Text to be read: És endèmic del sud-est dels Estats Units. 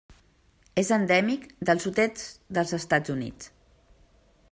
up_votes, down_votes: 0, 2